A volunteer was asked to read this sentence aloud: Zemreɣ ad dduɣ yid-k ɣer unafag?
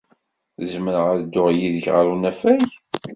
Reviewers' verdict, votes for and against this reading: accepted, 2, 0